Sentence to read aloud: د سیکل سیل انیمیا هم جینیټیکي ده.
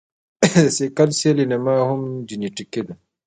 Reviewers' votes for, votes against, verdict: 2, 0, accepted